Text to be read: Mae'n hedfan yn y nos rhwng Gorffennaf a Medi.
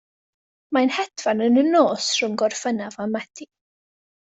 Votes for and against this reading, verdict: 2, 0, accepted